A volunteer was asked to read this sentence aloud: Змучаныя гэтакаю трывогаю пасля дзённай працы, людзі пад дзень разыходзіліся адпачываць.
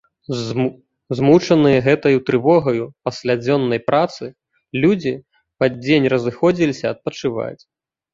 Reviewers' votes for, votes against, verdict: 1, 2, rejected